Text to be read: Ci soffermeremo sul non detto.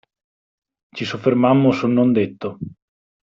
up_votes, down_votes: 0, 2